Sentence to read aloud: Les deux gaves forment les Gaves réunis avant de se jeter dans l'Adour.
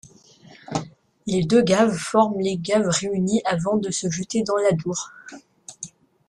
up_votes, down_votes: 1, 2